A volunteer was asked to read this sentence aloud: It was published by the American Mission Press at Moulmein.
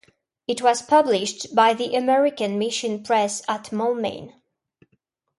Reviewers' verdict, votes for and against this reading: accepted, 2, 0